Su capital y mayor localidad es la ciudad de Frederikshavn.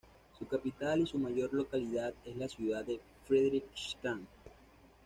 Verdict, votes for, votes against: rejected, 1, 2